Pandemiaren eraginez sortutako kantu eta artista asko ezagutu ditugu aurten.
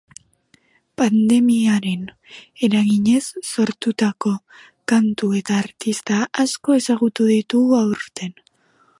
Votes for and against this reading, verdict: 2, 0, accepted